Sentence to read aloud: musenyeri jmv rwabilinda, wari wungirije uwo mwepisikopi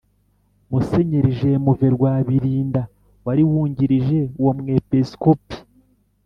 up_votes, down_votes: 2, 0